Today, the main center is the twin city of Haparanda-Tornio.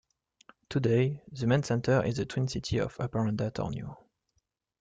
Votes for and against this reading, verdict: 1, 2, rejected